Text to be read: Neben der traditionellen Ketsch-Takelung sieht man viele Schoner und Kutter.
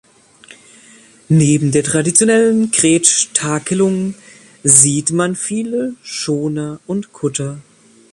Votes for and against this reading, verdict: 0, 2, rejected